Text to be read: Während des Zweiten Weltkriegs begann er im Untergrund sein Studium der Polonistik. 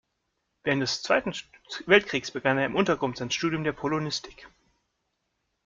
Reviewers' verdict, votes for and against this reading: rejected, 0, 2